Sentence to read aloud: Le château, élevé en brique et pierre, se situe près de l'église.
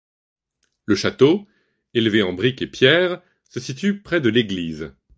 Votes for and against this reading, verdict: 2, 0, accepted